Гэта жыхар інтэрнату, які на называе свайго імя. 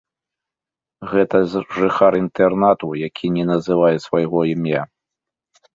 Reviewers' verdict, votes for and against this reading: rejected, 1, 2